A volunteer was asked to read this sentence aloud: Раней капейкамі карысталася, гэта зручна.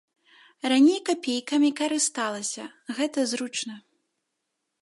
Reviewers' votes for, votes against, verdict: 2, 0, accepted